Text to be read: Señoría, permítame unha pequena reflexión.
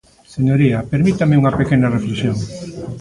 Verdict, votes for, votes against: rejected, 1, 2